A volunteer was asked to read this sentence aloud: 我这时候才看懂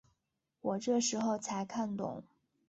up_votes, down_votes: 4, 0